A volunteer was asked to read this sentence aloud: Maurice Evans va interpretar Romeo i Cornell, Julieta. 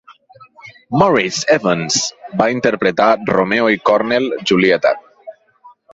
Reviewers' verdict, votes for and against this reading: rejected, 4, 6